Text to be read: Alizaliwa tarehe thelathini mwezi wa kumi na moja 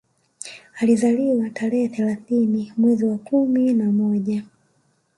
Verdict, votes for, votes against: rejected, 1, 2